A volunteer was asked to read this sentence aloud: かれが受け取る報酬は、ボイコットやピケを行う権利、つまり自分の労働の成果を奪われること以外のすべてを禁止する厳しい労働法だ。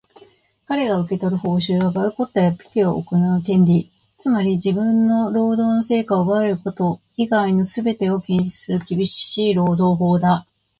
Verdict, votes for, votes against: accepted, 2, 1